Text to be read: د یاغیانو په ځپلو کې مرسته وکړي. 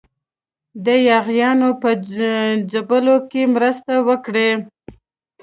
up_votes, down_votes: 1, 2